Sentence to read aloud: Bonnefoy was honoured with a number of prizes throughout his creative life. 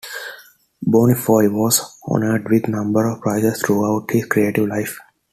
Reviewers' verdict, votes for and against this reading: rejected, 1, 2